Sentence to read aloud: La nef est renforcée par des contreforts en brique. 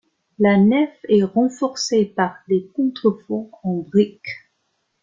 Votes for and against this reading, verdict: 2, 1, accepted